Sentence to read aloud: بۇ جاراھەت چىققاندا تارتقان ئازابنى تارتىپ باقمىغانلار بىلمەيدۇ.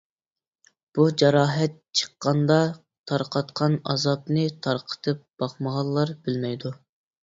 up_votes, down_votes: 0, 2